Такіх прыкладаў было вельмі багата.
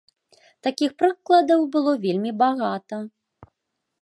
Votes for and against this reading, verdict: 2, 0, accepted